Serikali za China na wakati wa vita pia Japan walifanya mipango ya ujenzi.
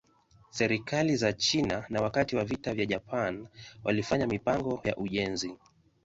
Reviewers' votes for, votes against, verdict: 1, 2, rejected